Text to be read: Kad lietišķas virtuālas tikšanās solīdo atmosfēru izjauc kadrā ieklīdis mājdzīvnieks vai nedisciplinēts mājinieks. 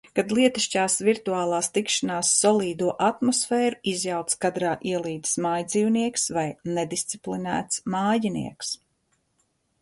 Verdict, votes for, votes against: rejected, 2, 3